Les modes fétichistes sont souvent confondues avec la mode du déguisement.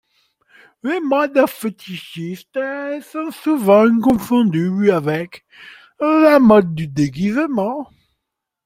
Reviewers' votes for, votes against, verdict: 2, 0, accepted